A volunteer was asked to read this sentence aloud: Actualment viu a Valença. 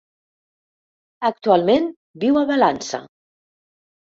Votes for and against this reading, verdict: 1, 2, rejected